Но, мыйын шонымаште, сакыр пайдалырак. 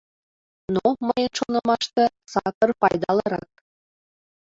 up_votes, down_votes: 2, 1